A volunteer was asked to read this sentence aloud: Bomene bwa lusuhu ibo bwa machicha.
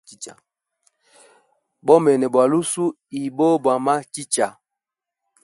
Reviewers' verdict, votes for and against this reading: rejected, 2, 3